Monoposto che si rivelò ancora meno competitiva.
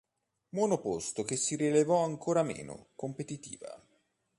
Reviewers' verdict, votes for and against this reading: rejected, 1, 2